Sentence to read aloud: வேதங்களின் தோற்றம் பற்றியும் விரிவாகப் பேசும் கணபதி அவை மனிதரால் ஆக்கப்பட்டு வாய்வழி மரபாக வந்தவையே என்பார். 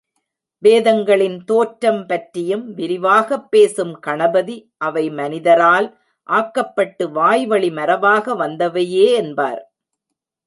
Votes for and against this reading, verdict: 0, 2, rejected